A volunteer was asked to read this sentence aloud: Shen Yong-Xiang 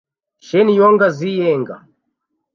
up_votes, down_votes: 1, 2